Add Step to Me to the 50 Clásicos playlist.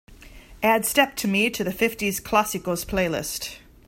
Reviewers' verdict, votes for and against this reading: rejected, 0, 2